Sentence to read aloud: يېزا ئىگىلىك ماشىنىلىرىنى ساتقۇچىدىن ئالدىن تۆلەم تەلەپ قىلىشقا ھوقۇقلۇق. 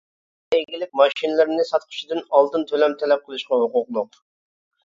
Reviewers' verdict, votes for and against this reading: rejected, 0, 2